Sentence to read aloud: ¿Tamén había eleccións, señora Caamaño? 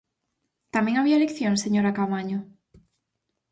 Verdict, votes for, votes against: accepted, 4, 0